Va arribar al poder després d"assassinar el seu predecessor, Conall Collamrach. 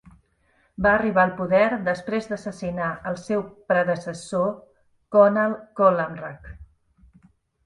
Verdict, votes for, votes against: accepted, 2, 0